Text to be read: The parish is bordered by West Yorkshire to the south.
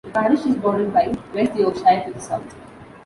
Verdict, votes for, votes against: rejected, 0, 2